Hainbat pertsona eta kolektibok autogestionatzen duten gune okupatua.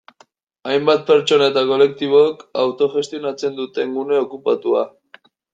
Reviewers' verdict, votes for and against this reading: accepted, 2, 0